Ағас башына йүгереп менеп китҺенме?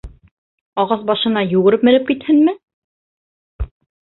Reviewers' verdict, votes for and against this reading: accepted, 2, 0